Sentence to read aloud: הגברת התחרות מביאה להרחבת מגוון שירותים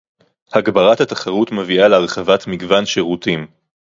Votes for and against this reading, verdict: 2, 0, accepted